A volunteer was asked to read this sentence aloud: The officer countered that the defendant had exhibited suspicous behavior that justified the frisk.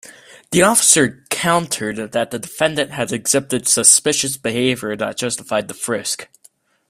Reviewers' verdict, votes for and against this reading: accepted, 2, 0